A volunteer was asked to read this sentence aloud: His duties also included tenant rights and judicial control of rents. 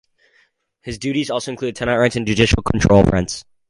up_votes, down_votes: 0, 4